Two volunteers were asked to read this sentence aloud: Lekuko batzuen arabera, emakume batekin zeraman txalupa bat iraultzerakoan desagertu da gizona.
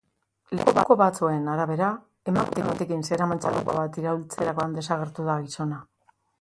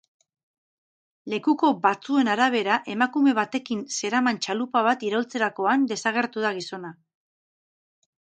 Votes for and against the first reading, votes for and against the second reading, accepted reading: 2, 2, 6, 2, second